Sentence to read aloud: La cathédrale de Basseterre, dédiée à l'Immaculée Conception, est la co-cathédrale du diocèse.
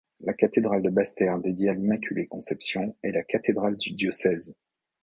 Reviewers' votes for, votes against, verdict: 1, 2, rejected